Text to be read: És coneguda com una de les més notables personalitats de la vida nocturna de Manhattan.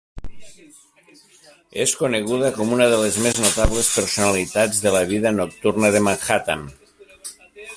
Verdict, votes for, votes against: rejected, 0, 2